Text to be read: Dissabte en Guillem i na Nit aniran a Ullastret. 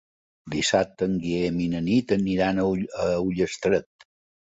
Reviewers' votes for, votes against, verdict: 1, 2, rejected